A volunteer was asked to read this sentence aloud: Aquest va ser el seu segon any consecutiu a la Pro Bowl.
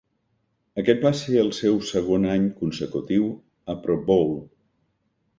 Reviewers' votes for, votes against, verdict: 0, 2, rejected